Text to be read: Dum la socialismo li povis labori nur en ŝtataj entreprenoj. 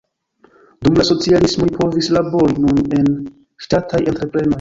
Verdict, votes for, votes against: rejected, 0, 2